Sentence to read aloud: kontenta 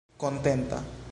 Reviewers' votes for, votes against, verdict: 2, 0, accepted